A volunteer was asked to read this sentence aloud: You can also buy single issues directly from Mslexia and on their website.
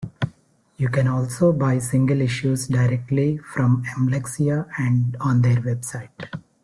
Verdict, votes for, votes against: accepted, 2, 0